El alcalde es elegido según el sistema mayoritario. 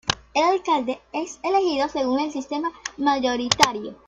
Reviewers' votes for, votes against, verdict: 2, 0, accepted